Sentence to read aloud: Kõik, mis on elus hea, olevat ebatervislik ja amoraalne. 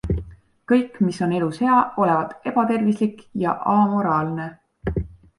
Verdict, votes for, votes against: accepted, 2, 0